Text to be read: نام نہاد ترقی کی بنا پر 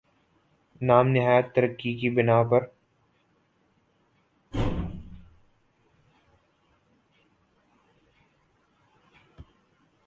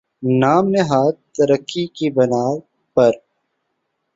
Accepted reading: second